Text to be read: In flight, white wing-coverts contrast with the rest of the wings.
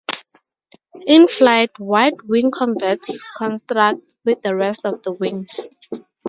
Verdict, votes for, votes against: rejected, 0, 2